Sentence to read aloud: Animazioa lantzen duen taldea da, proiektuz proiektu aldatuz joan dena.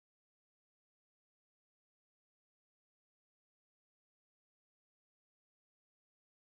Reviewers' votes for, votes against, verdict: 0, 3, rejected